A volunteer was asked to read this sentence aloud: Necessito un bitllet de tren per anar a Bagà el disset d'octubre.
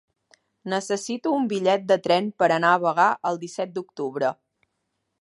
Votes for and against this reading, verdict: 2, 0, accepted